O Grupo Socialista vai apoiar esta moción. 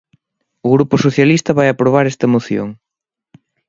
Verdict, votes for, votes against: rejected, 1, 2